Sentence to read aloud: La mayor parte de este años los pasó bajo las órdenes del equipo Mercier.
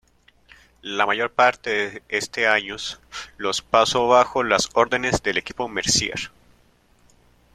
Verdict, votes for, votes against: rejected, 1, 2